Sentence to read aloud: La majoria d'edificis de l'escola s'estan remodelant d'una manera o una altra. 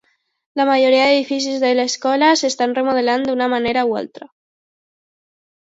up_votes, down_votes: 2, 0